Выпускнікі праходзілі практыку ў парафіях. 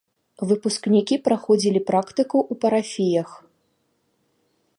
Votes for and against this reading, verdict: 0, 2, rejected